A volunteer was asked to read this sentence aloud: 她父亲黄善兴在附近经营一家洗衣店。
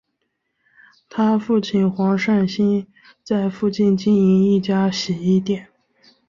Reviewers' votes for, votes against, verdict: 2, 0, accepted